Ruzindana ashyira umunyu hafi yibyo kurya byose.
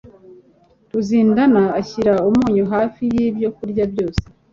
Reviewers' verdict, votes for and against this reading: accepted, 3, 0